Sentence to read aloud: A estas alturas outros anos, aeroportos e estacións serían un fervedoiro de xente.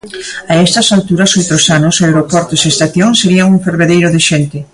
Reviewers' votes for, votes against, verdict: 0, 2, rejected